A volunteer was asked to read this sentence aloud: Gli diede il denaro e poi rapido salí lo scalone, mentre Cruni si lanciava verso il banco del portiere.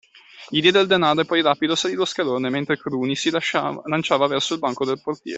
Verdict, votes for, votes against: rejected, 0, 2